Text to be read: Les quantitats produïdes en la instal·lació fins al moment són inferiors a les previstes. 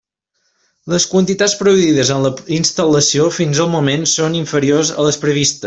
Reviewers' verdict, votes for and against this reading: rejected, 1, 2